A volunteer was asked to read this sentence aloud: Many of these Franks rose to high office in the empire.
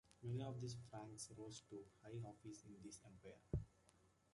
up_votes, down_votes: 0, 2